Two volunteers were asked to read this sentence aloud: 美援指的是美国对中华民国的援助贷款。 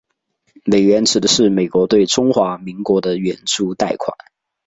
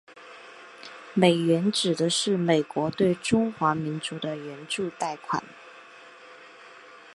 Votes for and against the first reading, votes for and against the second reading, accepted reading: 2, 0, 0, 3, first